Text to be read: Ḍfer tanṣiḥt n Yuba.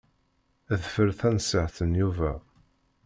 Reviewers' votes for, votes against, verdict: 1, 2, rejected